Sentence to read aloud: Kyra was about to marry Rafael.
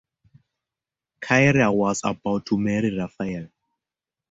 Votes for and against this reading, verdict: 2, 0, accepted